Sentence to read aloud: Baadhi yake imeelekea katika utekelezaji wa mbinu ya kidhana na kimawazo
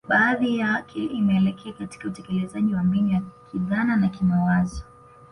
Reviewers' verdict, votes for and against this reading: accepted, 2, 0